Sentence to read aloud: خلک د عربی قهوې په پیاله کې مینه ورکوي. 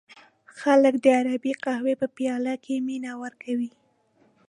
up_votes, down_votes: 2, 0